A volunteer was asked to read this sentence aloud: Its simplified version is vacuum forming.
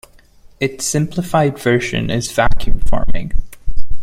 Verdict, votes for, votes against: accepted, 2, 0